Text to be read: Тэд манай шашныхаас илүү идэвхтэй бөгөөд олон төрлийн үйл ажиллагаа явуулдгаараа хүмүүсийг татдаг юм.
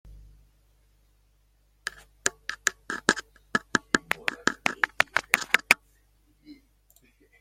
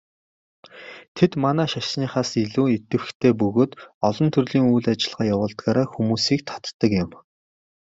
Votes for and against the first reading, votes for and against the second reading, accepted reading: 0, 2, 2, 1, second